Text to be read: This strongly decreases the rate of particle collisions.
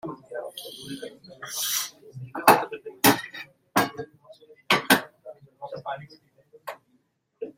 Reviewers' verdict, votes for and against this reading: rejected, 0, 2